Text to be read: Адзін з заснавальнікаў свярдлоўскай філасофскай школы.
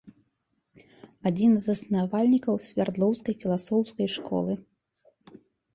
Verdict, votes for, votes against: rejected, 1, 2